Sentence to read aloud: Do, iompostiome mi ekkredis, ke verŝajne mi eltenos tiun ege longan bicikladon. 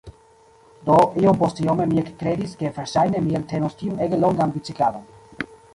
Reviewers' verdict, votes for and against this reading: rejected, 0, 3